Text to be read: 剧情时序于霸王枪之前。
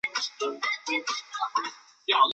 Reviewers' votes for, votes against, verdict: 0, 2, rejected